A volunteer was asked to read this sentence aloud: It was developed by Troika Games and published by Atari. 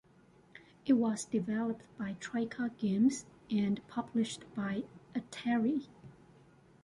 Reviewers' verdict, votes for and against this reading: accepted, 2, 0